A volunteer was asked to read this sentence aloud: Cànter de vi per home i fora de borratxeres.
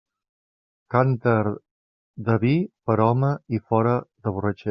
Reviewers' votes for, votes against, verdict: 1, 2, rejected